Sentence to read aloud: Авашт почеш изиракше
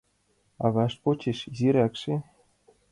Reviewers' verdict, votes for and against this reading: accepted, 2, 0